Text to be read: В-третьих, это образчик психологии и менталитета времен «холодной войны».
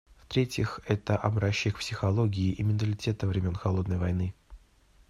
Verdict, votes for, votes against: accepted, 2, 0